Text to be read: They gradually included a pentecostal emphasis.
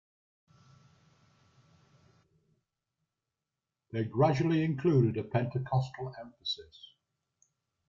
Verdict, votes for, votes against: accepted, 2, 0